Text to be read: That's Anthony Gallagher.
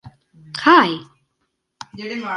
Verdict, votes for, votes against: rejected, 1, 2